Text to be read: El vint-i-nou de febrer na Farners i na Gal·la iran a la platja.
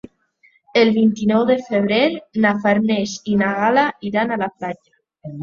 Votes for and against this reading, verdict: 3, 0, accepted